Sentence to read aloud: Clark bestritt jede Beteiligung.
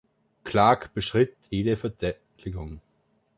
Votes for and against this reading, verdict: 0, 2, rejected